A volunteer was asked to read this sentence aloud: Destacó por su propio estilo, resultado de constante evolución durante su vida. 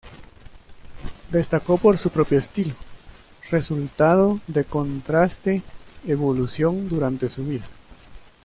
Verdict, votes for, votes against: rejected, 0, 2